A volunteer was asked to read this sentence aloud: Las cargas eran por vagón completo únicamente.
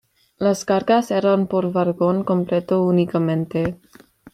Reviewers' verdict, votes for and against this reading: rejected, 1, 2